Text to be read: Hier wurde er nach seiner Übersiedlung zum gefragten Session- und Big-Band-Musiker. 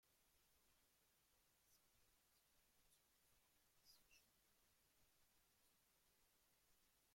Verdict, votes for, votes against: rejected, 0, 2